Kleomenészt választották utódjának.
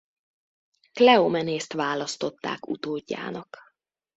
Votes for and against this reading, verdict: 2, 0, accepted